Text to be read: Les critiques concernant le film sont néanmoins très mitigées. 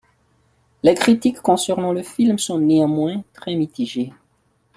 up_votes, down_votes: 2, 0